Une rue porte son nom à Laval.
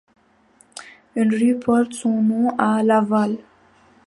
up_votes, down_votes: 2, 0